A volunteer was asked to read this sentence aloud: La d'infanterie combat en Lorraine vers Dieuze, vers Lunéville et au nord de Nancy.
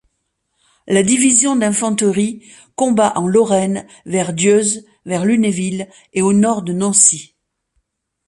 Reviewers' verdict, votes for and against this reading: rejected, 1, 2